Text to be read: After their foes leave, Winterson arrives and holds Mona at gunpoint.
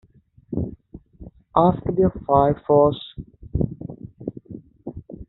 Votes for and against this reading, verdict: 0, 2, rejected